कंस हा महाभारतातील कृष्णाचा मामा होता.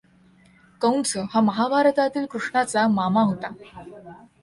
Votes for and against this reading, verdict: 2, 0, accepted